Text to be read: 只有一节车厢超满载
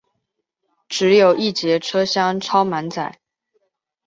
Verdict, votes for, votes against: accepted, 2, 0